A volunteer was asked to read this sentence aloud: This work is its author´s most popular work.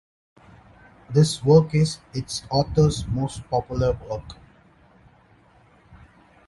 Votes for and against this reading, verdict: 2, 0, accepted